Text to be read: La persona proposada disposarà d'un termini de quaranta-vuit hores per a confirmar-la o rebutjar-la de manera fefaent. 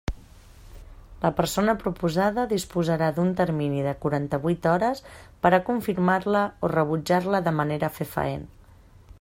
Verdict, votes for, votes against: accepted, 3, 0